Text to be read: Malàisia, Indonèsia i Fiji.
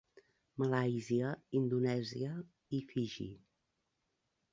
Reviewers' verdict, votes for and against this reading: rejected, 0, 2